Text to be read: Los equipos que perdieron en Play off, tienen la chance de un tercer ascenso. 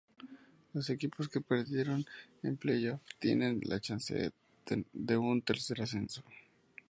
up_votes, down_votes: 2, 2